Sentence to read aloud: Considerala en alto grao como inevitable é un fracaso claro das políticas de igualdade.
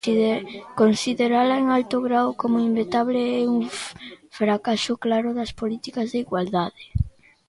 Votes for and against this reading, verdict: 0, 2, rejected